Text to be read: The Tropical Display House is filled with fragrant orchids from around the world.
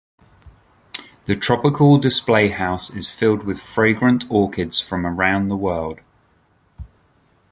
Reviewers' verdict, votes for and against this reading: accepted, 2, 0